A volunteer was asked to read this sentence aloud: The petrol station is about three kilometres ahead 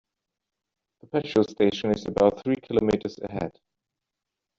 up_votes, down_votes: 1, 2